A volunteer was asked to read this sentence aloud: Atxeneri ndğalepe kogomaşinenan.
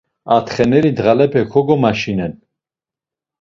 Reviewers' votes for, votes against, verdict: 1, 2, rejected